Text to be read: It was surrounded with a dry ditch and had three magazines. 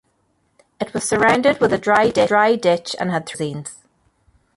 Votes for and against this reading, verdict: 0, 2, rejected